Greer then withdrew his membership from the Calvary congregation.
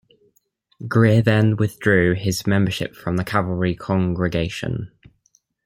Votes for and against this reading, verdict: 1, 2, rejected